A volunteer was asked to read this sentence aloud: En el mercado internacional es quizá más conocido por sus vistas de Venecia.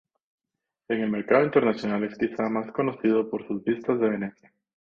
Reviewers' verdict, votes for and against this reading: rejected, 2, 2